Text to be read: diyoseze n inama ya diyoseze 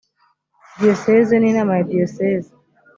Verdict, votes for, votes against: accepted, 2, 0